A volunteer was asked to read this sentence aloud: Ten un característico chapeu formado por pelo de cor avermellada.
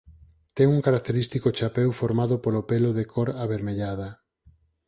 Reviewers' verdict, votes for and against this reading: rejected, 2, 4